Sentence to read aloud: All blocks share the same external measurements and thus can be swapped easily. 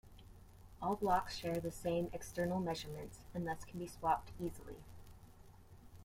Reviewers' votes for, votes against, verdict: 1, 2, rejected